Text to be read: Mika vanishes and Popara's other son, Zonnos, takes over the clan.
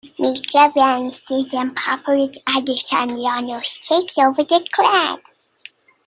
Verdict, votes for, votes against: rejected, 0, 2